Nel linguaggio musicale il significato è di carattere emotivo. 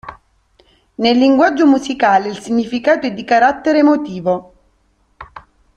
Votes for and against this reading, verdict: 1, 2, rejected